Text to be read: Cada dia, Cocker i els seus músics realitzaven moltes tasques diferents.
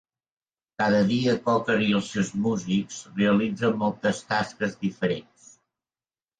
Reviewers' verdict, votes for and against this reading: rejected, 1, 2